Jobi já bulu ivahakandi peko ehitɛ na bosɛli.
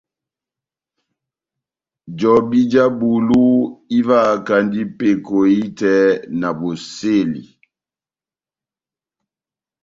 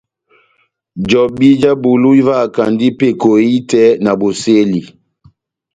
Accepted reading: second